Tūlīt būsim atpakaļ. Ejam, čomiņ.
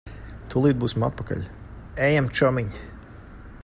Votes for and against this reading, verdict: 2, 0, accepted